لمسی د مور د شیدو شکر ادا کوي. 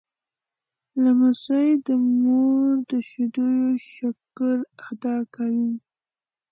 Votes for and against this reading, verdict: 2, 0, accepted